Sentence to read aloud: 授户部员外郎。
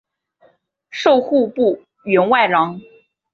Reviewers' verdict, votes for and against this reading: accepted, 3, 0